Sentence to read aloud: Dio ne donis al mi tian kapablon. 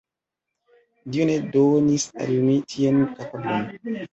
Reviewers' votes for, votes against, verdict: 2, 0, accepted